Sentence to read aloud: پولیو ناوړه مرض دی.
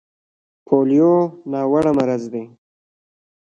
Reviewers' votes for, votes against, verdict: 1, 2, rejected